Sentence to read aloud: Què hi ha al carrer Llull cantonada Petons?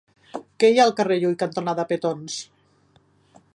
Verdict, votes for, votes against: accepted, 2, 1